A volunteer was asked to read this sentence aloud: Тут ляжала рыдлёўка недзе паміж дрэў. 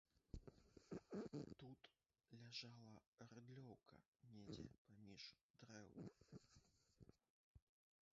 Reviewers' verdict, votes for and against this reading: rejected, 0, 2